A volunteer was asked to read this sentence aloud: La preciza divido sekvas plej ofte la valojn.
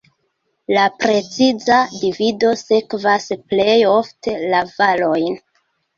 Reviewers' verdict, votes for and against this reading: accepted, 2, 1